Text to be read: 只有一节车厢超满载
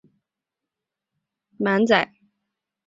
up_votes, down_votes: 6, 5